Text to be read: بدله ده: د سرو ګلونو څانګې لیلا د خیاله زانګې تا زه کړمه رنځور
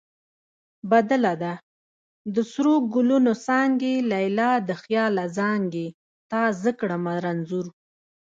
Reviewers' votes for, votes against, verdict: 1, 2, rejected